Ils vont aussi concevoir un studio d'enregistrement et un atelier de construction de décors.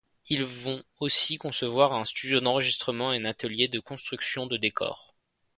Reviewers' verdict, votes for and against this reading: rejected, 1, 2